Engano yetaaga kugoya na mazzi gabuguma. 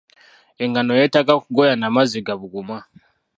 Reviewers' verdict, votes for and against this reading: rejected, 1, 2